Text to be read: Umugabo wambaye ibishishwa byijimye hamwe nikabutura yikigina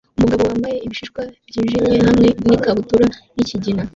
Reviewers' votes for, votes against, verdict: 1, 2, rejected